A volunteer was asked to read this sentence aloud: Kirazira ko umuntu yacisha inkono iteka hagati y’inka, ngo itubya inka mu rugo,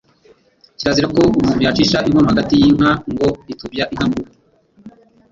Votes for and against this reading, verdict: 0, 2, rejected